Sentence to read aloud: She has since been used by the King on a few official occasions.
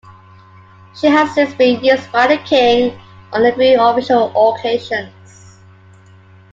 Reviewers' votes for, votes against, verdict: 2, 1, accepted